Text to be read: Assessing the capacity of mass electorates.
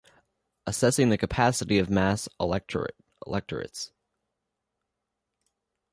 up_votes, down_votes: 0, 2